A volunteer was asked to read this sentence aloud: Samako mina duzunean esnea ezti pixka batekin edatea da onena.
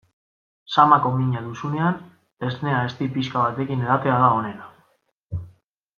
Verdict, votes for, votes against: accepted, 2, 1